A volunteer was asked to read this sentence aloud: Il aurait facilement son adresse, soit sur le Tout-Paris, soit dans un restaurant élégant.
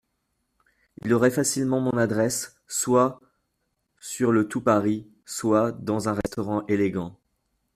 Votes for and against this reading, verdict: 0, 2, rejected